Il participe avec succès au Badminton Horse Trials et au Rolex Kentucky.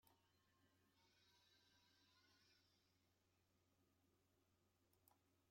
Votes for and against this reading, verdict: 1, 2, rejected